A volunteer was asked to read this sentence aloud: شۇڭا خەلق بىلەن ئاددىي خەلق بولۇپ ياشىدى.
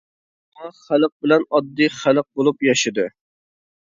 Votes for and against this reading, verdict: 1, 2, rejected